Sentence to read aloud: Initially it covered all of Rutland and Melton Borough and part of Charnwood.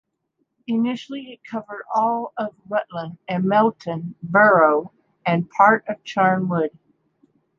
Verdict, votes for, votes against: accepted, 2, 0